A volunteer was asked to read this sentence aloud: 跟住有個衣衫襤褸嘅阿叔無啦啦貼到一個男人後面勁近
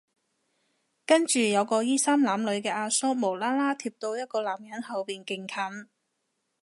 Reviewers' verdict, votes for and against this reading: accepted, 2, 0